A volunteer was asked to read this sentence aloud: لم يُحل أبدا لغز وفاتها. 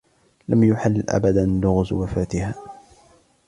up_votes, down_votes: 2, 0